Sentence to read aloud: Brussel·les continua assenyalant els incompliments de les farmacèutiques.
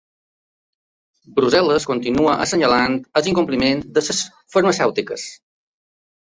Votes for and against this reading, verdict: 1, 4, rejected